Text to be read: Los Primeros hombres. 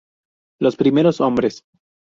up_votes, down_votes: 2, 0